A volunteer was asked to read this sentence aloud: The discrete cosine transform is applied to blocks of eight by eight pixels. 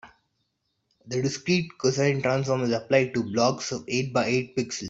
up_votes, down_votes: 0, 3